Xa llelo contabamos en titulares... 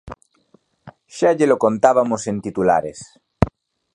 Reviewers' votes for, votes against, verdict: 0, 2, rejected